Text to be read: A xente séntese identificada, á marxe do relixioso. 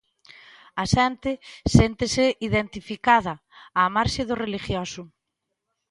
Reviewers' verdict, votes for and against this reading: rejected, 1, 2